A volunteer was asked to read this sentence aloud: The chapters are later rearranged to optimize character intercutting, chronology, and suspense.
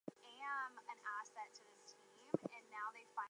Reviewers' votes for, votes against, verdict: 0, 4, rejected